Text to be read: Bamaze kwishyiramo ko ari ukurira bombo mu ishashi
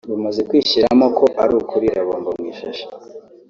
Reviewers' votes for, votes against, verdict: 1, 2, rejected